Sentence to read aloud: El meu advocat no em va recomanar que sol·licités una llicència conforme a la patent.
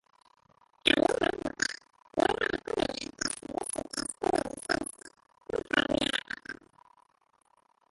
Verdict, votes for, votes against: rejected, 0, 3